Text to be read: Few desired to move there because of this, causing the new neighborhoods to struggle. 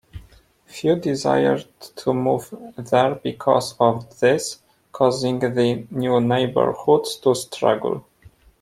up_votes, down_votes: 2, 0